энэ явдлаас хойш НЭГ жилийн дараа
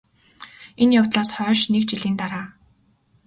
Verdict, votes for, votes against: accepted, 2, 0